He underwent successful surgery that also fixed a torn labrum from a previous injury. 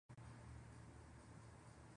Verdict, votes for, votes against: rejected, 0, 2